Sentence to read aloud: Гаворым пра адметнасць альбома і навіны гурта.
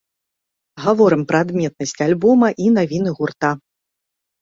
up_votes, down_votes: 2, 0